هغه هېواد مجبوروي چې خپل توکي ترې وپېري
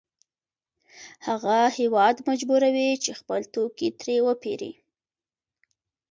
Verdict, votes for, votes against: accepted, 2, 1